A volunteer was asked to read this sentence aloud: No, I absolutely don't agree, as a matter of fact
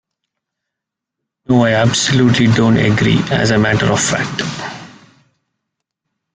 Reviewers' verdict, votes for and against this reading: accepted, 2, 1